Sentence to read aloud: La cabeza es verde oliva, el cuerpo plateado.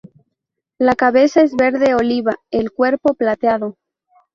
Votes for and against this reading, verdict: 2, 0, accepted